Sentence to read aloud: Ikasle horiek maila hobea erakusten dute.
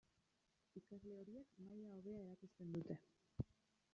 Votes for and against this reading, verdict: 1, 2, rejected